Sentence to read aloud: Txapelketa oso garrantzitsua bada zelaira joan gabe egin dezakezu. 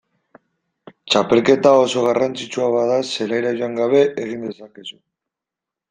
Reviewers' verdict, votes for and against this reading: accepted, 2, 0